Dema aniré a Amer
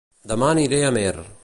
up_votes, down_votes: 0, 2